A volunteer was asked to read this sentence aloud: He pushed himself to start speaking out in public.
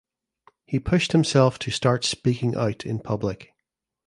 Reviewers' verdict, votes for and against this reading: accepted, 2, 0